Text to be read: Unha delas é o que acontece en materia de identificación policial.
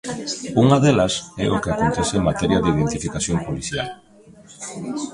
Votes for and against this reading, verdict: 0, 2, rejected